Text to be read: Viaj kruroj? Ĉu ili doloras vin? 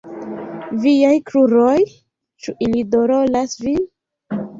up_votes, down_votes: 2, 1